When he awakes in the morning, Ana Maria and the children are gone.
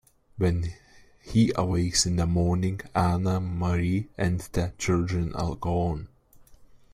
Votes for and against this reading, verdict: 1, 2, rejected